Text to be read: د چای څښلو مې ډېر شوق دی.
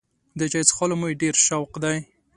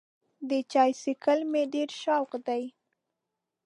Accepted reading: first